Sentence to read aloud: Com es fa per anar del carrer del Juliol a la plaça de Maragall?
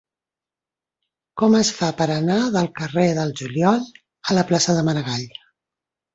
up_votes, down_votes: 3, 0